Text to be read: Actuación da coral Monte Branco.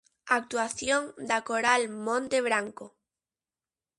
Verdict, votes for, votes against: accepted, 2, 0